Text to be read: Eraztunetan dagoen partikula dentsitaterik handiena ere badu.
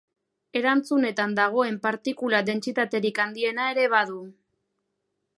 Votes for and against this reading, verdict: 1, 2, rejected